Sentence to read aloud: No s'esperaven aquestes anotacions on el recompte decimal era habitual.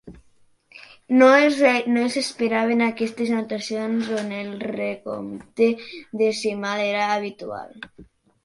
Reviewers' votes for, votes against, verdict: 0, 2, rejected